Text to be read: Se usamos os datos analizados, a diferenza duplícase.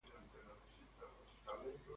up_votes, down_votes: 0, 2